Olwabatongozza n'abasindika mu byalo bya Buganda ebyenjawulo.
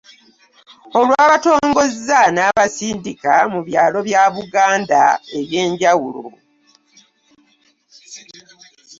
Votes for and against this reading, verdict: 2, 0, accepted